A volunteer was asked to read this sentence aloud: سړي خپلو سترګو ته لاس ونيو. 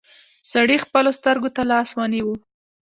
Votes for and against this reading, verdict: 2, 0, accepted